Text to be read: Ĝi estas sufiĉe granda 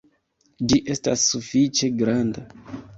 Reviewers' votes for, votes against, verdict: 2, 0, accepted